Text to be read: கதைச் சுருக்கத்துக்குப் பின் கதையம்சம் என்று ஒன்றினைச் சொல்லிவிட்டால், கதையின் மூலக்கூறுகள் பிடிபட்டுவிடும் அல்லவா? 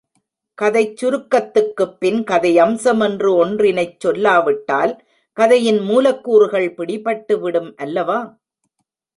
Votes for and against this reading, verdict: 1, 2, rejected